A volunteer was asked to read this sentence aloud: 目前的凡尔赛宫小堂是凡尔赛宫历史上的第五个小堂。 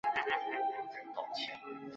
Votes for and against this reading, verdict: 1, 3, rejected